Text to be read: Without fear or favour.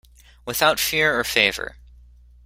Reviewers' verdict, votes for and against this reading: accepted, 2, 0